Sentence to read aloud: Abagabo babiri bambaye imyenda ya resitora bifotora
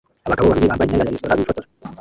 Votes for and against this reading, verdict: 0, 2, rejected